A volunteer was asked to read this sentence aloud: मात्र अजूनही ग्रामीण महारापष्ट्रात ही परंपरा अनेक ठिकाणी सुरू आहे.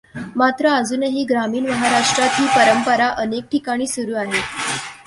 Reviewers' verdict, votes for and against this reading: rejected, 1, 2